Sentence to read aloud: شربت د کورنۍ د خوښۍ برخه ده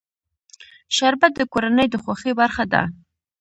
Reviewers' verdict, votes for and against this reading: accepted, 2, 0